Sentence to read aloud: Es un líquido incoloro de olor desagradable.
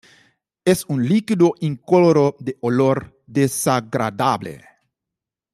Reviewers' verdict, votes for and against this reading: rejected, 1, 2